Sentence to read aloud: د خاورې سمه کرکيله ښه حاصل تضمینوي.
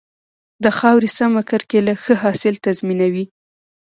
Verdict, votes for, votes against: accepted, 2, 0